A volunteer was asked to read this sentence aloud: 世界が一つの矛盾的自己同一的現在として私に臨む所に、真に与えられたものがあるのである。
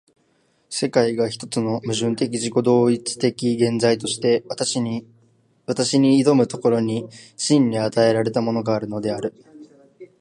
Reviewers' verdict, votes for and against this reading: rejected, 1, 2